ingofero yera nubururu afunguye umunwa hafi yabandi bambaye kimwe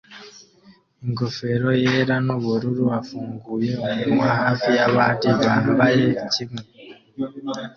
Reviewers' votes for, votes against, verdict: 2, 0, accepted